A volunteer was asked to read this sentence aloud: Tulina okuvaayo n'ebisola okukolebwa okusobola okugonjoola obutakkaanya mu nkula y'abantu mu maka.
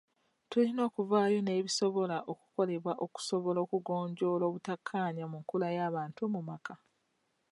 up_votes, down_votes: 2, 0